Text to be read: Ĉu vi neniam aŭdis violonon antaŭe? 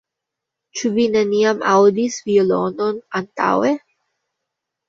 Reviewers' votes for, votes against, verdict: 2, 0, accepted